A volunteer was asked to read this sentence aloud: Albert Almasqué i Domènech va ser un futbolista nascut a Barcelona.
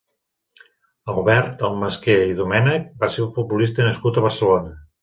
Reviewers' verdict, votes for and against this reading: accepted, 4, 0